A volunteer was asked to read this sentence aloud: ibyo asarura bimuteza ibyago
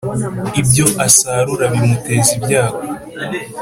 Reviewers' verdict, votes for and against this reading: accepted, 2, 0